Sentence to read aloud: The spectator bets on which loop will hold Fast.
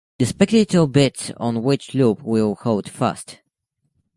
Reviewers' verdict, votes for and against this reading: accepted, 2, 1